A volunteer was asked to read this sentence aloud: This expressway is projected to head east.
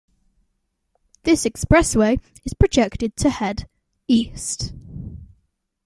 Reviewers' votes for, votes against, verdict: 2, 0, accepted